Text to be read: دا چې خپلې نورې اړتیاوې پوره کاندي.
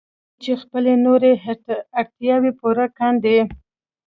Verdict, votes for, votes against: accepted, 2, 1